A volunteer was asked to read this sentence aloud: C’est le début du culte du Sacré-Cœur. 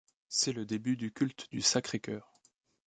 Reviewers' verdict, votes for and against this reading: accepted, 2, 0